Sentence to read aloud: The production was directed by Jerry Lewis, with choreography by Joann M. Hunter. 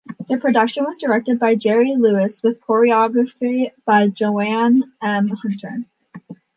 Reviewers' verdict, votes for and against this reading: accepted, 2, 0